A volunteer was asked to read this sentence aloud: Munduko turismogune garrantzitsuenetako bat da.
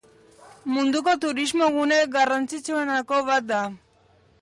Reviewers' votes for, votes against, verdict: 1, 2, rejected